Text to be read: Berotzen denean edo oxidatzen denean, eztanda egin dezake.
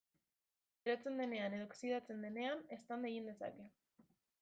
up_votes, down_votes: 0, 2